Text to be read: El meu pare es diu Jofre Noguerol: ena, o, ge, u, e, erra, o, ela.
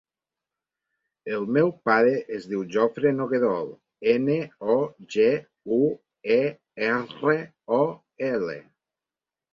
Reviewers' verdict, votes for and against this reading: rejected, 0, 2